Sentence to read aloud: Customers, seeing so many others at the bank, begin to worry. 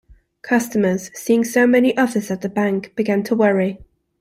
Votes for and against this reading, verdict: 0, 2, rejected